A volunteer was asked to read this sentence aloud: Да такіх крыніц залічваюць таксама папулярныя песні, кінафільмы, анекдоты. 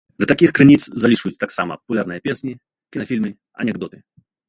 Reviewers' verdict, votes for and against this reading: rejected, 0, 2